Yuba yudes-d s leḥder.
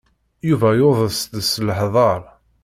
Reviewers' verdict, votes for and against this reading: rejected, 0, 2